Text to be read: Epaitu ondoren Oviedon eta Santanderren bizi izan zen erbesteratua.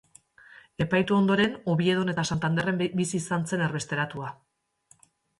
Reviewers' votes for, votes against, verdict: 1, 2, rejected